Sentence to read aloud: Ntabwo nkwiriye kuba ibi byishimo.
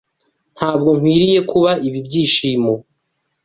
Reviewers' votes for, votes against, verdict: 2, 0, accepted